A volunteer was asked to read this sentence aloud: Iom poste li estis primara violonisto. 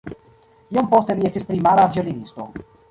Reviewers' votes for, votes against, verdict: 1, 2, rejected